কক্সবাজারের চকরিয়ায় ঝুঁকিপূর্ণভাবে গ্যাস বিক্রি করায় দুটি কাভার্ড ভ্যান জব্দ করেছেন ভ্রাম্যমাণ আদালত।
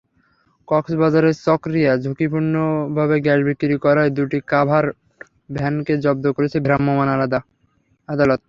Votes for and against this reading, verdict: 0, 3, rejected